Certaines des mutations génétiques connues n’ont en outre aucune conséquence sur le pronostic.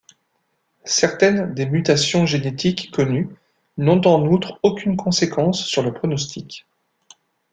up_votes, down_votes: 2, 0